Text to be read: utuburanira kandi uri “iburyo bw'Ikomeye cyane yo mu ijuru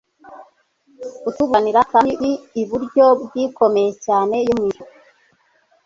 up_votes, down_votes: 1, 2